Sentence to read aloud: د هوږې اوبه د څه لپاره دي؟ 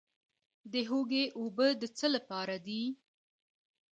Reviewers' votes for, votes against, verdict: 2, 0, accepted